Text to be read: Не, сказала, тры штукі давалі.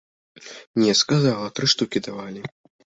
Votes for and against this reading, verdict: 2, 0, accepted